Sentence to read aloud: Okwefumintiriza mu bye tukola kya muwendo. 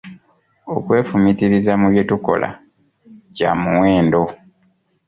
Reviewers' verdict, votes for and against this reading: accepted, 2, 0